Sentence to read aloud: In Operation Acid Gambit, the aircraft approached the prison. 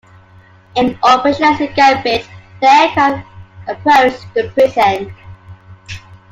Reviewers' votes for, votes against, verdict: 0, 2, rejected